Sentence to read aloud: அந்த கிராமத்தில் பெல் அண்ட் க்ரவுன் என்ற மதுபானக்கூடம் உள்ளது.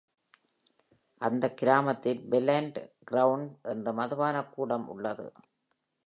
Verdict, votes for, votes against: accepted, 2, 1